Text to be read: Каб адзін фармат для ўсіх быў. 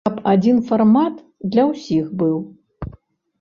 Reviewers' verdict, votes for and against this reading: accepted, 2, 0